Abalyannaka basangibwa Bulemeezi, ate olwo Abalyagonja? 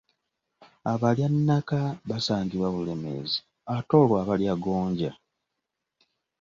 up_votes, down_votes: 2, 0